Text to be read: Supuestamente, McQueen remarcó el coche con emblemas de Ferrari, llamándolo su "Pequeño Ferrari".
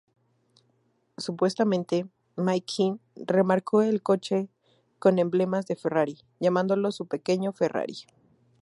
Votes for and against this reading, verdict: 2, 4, rejected